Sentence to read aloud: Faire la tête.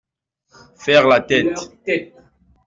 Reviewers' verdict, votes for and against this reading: accepted, 2, 0